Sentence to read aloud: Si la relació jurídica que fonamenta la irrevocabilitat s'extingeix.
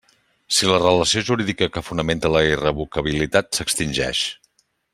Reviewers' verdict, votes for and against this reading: accepted, 3, 0